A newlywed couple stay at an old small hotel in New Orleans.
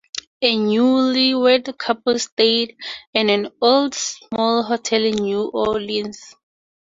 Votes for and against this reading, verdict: 2, 0, accepted